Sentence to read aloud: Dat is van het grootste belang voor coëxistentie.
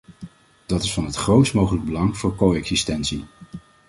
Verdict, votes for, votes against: rejected, 1, 2